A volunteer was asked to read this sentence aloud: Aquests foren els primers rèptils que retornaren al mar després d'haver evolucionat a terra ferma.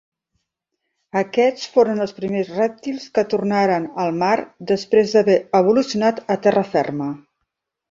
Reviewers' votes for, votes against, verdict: 1, 2, rejected